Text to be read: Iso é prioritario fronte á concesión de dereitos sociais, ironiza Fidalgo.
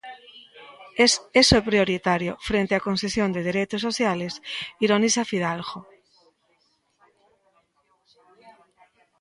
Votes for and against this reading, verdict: 0, 2, rejected